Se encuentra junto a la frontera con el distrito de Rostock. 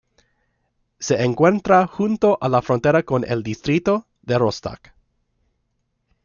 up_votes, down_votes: 2, 0